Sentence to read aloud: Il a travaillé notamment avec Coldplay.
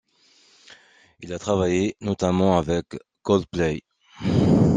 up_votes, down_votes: 2, 0